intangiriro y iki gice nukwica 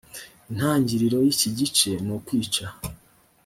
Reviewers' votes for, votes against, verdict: 3, 0, accepted